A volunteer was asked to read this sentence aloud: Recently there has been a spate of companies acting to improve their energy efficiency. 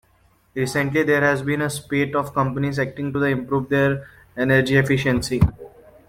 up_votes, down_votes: 2, 0